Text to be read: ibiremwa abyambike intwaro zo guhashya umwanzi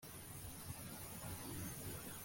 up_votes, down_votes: 0, 2